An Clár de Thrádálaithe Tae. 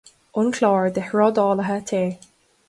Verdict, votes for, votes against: accepted, 2, 0